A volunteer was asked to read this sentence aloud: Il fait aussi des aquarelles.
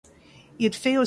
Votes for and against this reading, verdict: 0, 2, rejected